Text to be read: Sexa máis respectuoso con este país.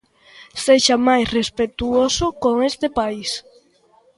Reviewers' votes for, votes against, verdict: 2, 0, accepted